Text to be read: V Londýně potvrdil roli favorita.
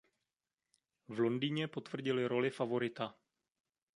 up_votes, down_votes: 0, 2